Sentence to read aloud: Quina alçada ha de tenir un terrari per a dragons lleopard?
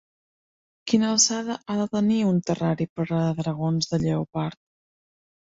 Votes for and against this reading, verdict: 1, 2, rejected